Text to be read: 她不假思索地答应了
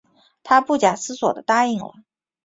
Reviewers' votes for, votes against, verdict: 2, 0, accepted